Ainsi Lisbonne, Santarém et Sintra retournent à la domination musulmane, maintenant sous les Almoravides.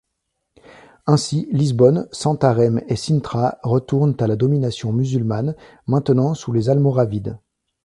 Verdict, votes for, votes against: accepted, 2, 0